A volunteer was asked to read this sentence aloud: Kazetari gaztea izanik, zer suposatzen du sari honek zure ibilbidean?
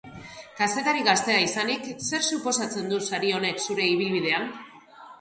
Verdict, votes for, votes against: accepted, 2, 0